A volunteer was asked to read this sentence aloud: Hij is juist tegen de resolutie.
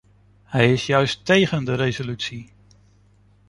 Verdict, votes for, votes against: accepted, 2, 0